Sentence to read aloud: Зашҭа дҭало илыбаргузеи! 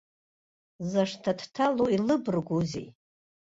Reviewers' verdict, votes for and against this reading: accepted, 2, 0